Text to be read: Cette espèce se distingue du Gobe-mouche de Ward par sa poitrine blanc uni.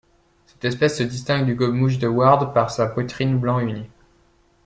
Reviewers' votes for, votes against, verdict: 1, 2, rejected